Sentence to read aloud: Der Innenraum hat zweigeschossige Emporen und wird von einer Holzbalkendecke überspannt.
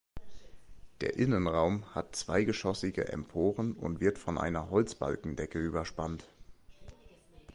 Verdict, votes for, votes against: accepted, 2, 0